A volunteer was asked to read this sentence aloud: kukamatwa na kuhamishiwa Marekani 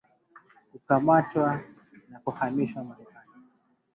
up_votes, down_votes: 1, 2